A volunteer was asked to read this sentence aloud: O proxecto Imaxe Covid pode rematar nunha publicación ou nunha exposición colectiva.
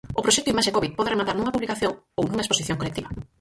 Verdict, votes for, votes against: rejected, 0, 4